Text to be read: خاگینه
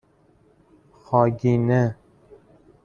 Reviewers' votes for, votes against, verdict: 2, 0, accepted